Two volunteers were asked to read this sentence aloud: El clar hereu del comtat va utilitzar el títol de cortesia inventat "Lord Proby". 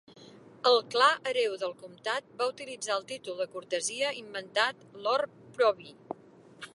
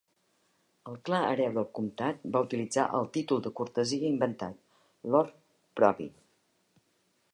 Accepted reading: second